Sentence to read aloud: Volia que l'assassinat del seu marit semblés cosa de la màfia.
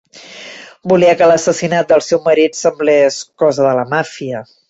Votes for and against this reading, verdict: 3, 0, accepted